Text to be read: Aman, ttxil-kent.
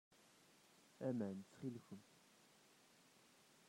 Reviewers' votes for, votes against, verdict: 0, 2, rejected